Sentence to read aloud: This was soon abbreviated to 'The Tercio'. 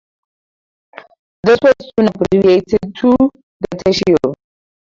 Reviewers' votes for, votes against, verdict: 0, 2, rejected